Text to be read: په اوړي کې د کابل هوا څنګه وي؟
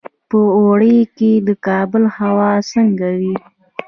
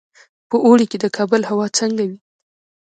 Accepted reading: second